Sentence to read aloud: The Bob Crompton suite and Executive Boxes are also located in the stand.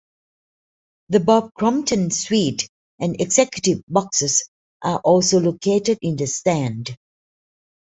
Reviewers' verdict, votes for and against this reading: accepted, 2, 0